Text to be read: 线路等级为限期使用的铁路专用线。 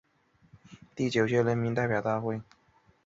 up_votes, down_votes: 0, 3